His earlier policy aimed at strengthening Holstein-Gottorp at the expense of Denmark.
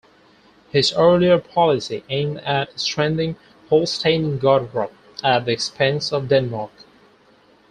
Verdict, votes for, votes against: rejected, 2, 4